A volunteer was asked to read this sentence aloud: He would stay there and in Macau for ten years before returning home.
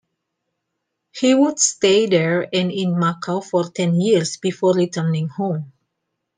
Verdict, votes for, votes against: accepted, 2, 0